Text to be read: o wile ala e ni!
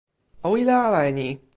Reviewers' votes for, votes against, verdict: 0, 2, rejected